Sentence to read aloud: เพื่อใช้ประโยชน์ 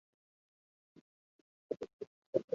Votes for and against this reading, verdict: 1, 2, rejected